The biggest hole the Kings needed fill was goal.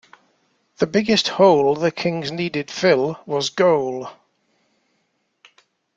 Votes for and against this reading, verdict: 2, 0, accepted